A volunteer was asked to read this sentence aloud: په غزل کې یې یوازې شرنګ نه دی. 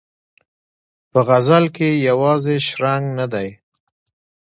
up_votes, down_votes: 1, 2